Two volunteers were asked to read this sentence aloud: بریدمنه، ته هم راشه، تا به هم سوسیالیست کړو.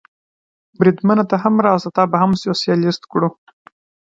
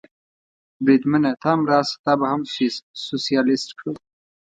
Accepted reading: first